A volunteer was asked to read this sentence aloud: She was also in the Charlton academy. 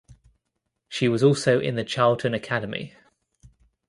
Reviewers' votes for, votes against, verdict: 2, 0, accepted